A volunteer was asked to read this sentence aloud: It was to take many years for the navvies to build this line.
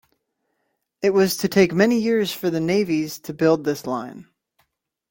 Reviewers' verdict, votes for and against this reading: accepted, 2, 0